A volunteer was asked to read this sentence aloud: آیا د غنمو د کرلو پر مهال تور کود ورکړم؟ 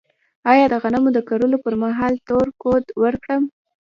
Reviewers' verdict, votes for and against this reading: accepted, 2, 0